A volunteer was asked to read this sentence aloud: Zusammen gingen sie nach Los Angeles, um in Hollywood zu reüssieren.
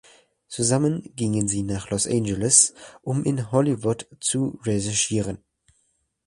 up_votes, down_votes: 0, 2